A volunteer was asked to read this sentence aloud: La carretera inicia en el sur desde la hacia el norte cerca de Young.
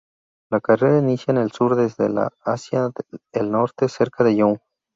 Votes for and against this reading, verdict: 0, 2, rejected